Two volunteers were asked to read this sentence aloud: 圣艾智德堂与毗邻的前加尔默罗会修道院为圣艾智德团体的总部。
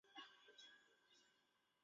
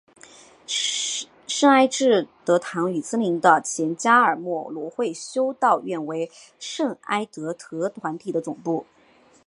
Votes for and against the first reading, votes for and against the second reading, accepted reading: 1, 4, 2, 1, second